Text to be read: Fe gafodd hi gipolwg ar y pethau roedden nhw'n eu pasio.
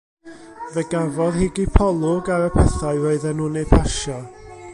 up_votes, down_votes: 0, 2